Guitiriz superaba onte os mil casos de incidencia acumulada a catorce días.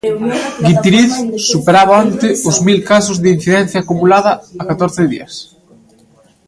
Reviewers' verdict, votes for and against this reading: rejected, 0, 2